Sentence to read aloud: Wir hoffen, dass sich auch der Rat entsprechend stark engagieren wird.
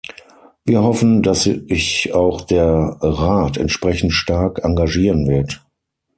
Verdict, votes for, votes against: rejected, 0, 6